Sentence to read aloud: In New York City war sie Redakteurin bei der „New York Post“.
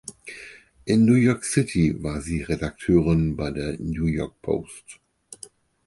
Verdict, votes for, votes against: accepted, 4, 0